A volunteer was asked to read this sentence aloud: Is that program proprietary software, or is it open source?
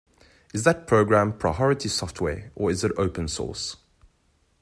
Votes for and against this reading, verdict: 2, 0, accepted